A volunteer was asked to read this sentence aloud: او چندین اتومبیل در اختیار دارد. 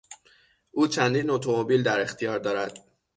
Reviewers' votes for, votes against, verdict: 6, 0, accepted